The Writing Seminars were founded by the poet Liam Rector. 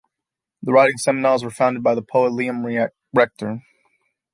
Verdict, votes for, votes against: rejected, 1, 3